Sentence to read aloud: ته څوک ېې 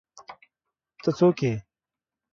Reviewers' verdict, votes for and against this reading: accepted, 2, 0